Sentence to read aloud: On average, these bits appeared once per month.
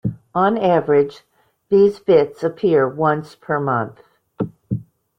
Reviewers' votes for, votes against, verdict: 1, 2, rejected